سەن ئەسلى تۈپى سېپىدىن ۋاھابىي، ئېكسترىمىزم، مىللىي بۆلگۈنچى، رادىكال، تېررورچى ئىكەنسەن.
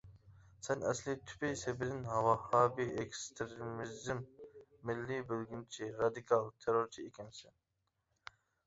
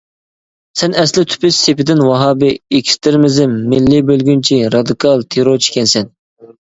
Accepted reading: second